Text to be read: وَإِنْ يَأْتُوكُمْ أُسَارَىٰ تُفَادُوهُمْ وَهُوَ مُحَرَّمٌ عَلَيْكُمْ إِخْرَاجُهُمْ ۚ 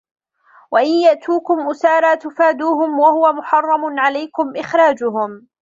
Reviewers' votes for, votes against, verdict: 0, 2, rejected